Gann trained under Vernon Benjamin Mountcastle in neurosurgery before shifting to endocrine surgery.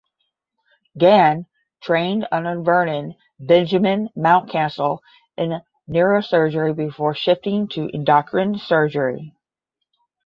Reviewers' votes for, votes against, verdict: 5, 5, rejected